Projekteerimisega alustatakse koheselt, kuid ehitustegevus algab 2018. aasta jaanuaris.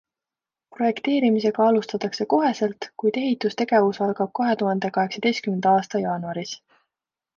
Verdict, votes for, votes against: rejected, 0, 2